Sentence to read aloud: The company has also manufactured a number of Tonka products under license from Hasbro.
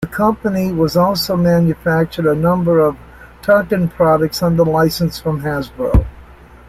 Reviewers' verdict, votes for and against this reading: rejected, 1, 2